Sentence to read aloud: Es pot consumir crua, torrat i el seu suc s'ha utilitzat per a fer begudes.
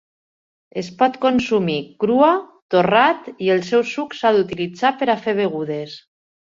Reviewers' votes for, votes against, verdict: 1, 2, rejected